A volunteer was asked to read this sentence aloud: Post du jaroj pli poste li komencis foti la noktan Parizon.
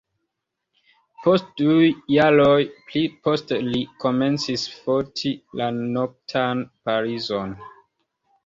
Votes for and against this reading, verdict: 1, 2, rejected